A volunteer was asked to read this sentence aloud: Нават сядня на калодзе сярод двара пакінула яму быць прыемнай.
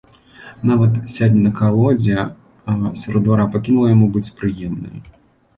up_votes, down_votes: 1, 2